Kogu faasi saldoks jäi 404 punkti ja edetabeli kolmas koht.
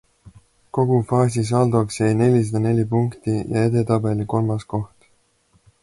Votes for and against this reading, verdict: 0, 2, rejected